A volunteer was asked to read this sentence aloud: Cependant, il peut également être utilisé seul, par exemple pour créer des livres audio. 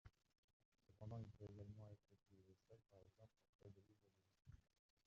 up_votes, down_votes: 0, 2